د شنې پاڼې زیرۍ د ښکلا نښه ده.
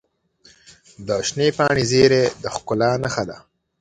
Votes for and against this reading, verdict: 2, 0, accepted